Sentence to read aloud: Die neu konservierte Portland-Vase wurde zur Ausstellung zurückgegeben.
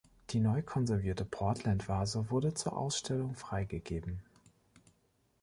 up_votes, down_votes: 0, 2